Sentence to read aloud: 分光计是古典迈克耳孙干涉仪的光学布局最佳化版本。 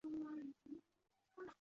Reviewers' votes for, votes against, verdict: 0, 3, rejected